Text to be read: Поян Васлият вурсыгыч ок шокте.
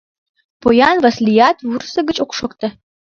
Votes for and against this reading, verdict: 2, 1, accepted